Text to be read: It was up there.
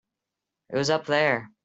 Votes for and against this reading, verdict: 2, 0, accepted